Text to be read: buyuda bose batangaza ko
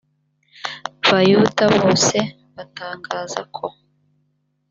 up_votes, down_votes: 0, 2